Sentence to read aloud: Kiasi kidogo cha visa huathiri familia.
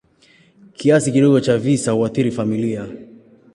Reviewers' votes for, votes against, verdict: 2, 0, accepted